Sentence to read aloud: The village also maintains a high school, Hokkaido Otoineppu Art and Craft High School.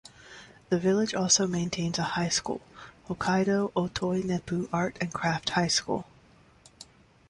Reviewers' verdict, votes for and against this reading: rejected, 0, 2